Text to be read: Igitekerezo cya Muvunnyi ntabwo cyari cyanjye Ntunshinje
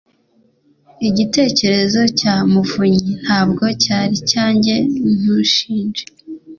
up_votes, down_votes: 2, 0